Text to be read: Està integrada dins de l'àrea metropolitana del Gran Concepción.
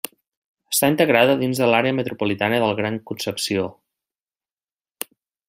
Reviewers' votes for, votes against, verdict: 1, 2, rejected